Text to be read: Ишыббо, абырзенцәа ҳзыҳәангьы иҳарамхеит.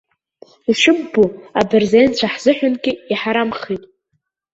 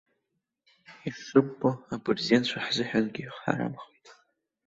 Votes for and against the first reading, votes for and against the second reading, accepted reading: 2, 0, 1, 2, first